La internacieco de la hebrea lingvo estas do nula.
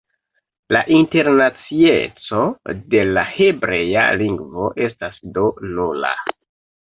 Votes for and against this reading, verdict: 2, 0, accepted